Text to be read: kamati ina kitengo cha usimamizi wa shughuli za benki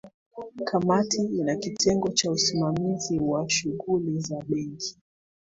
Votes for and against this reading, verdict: 3, 1, accepted